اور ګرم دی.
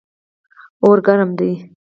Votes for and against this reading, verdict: 4, 0, accepted